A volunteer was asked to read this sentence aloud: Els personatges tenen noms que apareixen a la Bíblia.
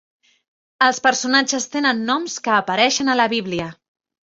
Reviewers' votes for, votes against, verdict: 2, 0, accepted